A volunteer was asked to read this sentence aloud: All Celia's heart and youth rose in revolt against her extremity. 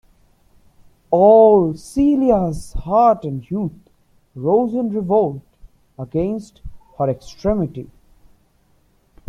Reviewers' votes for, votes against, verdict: 2, 0, accepted